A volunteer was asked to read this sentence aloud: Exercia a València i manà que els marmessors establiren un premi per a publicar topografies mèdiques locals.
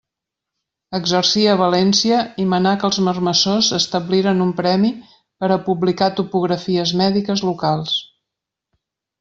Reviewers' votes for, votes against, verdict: 2, 0, accepted